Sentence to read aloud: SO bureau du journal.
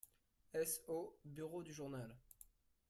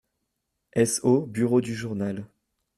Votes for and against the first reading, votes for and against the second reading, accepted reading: 1, 2, 2, 0, second